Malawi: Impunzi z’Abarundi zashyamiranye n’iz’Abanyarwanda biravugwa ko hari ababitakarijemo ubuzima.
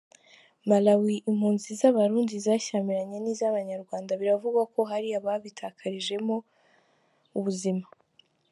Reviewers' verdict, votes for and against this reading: accepted, 3, 2